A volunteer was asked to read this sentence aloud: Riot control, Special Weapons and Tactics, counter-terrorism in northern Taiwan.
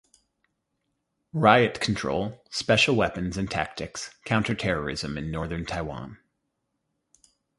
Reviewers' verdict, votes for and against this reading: accepted, 4, 0